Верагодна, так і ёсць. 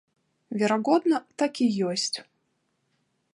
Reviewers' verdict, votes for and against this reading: rejected, 0, 2